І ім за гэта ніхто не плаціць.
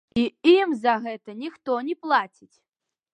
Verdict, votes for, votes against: accepted, 2, 1